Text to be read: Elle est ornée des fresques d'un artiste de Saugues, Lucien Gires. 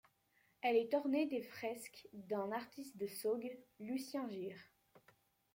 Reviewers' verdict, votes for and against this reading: rejected, 1, 2